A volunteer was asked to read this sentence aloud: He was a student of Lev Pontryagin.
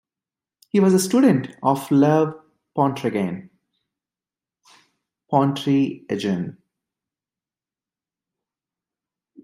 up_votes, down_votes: 0, 2